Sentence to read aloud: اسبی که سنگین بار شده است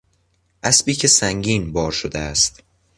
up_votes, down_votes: 2, 0